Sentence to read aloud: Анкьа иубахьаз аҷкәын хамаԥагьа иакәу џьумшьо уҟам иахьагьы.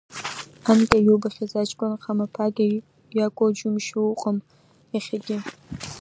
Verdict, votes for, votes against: rejected, 1, 2